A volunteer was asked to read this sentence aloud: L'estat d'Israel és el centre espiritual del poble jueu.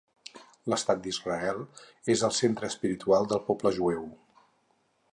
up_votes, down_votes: 6, 0